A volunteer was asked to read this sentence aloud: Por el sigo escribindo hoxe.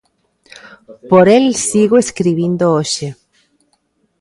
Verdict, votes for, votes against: accepted, 2, 0